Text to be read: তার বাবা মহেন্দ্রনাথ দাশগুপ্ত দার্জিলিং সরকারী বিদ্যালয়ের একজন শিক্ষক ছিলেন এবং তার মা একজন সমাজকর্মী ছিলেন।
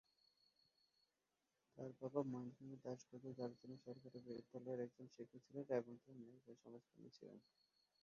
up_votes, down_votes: 1, 11